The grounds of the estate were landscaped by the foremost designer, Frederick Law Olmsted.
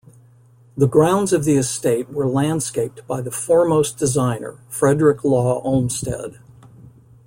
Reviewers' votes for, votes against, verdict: 2, 1, accepted